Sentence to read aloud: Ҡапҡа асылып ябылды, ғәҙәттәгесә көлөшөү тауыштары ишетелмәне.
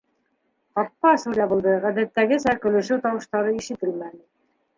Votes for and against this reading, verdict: 0, 2, rejected